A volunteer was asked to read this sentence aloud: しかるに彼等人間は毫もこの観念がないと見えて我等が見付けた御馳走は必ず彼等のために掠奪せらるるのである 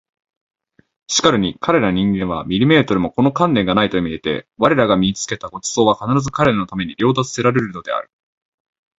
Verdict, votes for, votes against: accepted, 25, 2